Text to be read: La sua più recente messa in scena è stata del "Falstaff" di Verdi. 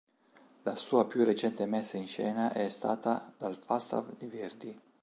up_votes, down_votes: 1, 2